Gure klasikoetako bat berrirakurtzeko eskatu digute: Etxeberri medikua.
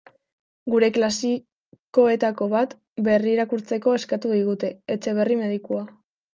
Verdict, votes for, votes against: rejected, 1, 2